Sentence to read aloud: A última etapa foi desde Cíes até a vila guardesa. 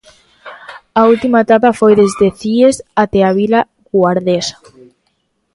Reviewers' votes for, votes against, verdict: 2, 1, accepted